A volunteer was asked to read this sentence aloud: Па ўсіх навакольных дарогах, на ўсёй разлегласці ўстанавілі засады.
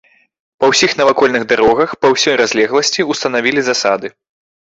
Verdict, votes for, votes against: rejected, 0, 2